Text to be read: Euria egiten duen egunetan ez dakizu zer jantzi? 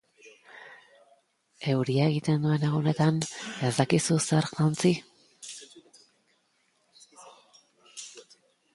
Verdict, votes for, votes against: rejected, 1, 2